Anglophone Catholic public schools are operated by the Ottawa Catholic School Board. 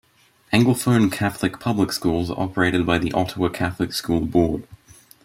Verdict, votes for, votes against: accepted, 2, 0